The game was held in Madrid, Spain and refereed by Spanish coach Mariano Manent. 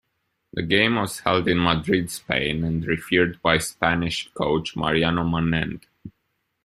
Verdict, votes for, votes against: rejected, 1, 2